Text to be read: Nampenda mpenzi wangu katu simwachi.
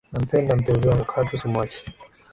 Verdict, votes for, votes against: accepted, 8, 1